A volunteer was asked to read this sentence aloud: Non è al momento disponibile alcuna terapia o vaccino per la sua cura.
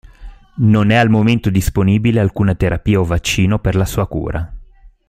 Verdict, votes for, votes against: accepted, 2, 0